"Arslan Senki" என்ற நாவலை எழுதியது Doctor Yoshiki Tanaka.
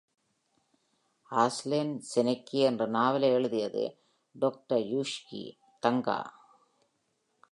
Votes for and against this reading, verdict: 2, 1, accepted